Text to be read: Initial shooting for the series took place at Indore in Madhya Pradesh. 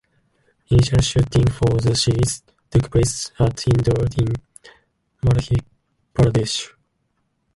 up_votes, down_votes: 0, 2